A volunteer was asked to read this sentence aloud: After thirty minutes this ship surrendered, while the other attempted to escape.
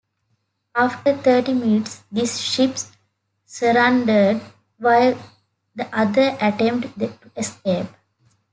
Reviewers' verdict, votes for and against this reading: accepted, 2, 1